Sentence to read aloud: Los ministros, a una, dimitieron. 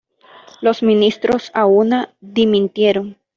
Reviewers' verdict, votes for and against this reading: rejected, 1, 2